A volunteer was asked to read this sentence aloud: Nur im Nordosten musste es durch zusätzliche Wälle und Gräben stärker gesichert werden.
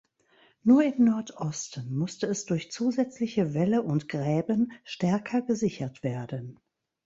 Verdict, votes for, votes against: rejected, 1, 2